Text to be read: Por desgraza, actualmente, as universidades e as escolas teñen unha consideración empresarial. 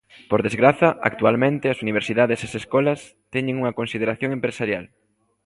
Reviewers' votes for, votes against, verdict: 1, 2, rejected